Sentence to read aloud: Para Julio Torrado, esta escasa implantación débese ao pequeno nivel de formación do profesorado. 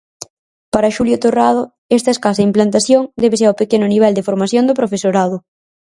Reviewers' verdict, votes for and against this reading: rejected, 0, 4